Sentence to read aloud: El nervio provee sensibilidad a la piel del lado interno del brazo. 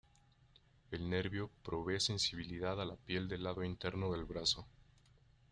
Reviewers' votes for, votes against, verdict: 1, 2, rejected